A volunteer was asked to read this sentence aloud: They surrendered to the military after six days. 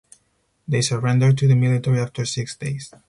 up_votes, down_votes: 4, 0